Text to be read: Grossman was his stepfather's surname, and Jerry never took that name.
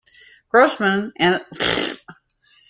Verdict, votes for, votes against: rejected, 0, 2